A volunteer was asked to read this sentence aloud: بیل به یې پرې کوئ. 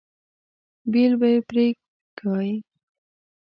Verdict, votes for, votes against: rejected, 1, 2